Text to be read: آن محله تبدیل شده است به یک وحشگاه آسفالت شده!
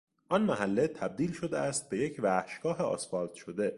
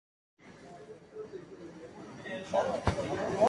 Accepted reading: first